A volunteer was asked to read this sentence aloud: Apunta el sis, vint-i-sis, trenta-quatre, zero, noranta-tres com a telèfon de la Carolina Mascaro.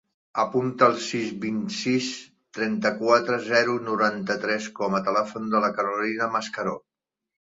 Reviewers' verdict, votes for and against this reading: rejected, 1, 2